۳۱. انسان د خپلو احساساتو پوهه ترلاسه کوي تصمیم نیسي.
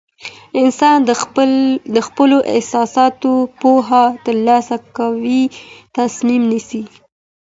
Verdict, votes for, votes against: rejected, 0, 2